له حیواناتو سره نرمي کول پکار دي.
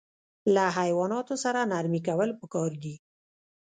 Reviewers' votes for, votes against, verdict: 1, 2, rejected